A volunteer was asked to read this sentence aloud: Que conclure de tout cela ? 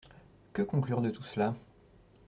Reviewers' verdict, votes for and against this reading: rejected, 1, 2